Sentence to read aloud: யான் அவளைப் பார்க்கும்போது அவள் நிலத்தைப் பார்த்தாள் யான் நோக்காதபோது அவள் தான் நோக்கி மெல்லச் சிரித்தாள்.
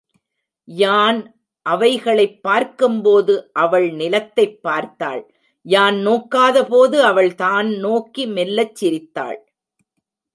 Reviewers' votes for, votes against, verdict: 0, 2, rejected